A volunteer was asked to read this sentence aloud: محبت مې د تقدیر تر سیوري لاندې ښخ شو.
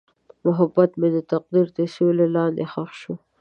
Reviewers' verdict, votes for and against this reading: accepted, 2, 0